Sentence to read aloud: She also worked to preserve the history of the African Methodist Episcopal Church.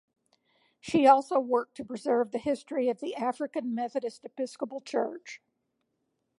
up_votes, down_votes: 2, 0